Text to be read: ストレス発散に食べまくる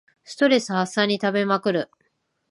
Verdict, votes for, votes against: accepted, 2, 0